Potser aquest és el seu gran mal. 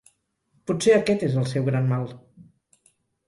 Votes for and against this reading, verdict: 6, 0, accepted